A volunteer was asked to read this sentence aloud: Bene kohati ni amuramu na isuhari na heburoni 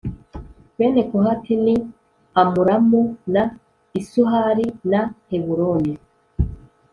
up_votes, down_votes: 2, 0